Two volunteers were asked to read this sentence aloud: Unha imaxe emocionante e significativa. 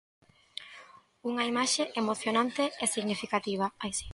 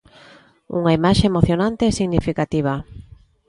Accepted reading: second